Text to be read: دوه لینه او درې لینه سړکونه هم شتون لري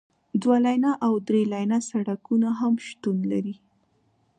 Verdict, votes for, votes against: accepted, 2, 0